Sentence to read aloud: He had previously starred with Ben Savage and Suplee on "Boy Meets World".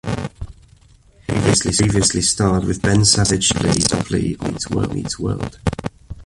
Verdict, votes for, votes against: rejected, 0, 2